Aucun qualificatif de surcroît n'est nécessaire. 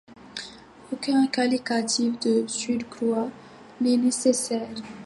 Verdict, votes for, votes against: rejected, 1, 2